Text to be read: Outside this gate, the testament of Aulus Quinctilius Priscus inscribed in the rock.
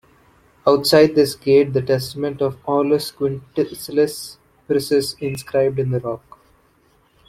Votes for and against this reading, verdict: 1, 2, rejected